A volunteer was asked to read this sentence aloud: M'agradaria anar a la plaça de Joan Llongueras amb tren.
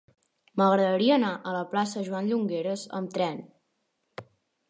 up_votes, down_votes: 2, 3